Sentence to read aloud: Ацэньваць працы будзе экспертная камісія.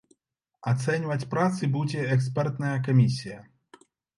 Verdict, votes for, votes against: accepted, 2, 0